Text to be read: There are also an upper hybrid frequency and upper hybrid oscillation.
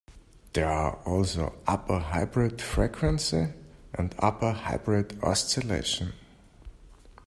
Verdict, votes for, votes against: rejected, 0, 2